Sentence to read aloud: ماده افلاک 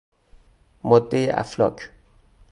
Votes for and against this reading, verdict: 2, 2, rejected